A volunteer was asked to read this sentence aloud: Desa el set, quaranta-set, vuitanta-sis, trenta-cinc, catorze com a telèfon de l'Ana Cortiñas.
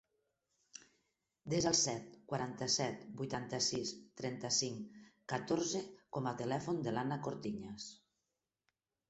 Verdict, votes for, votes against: accepted, 4, 0